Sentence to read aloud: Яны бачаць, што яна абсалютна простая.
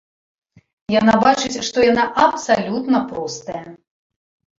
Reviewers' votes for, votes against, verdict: 1, 2, rejected